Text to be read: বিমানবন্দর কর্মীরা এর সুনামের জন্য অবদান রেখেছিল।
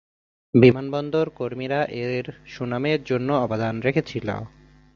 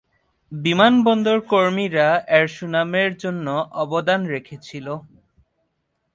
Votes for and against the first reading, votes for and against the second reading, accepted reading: 0, 3, 13, 2, second